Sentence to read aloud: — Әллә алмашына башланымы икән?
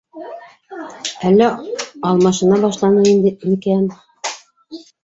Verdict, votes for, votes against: rejected, 0, 2